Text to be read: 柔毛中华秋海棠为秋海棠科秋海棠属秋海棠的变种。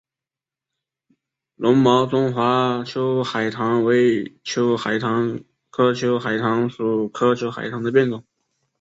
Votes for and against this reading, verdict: 1, 3, rejected